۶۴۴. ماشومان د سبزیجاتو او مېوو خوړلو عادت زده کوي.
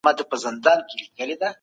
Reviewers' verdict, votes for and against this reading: rejected, 0, 2